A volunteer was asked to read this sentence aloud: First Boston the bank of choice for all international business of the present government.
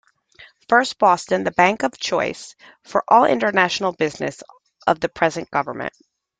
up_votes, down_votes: 2, 0